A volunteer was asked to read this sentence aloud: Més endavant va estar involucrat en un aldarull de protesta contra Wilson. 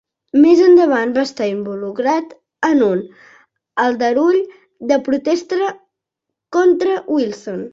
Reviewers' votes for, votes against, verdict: 0, 2, rejected